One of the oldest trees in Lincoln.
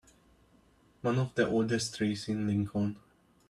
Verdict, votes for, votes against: rejected, 0, 2